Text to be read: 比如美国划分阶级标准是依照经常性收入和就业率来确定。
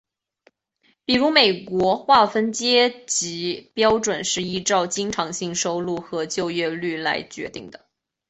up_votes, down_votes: 1, 2